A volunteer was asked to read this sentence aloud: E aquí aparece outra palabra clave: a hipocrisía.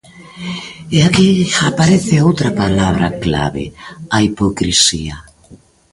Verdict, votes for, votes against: accepted, 2, 0